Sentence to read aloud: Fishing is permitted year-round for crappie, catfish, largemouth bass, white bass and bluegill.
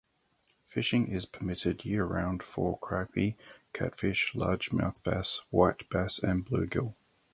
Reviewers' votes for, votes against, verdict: 2, 2, rejected